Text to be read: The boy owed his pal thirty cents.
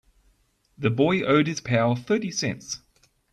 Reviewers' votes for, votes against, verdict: 3, 0, accepted